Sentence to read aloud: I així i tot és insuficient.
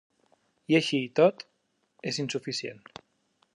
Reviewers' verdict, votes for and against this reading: accepted, 3, 0